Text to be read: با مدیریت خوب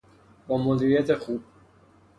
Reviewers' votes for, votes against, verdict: 0, 3, rejected